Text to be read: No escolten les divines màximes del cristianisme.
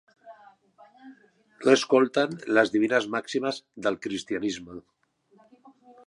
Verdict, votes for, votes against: rejected, 1, 2